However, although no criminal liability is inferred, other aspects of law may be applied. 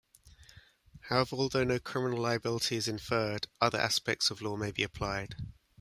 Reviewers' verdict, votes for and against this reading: accepted, 2, 1